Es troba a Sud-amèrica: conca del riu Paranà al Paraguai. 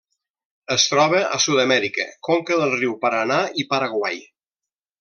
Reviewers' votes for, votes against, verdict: 0, 2, rejected